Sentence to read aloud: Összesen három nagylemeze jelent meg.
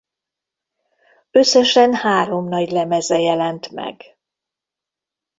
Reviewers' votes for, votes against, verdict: 2, 0, accepted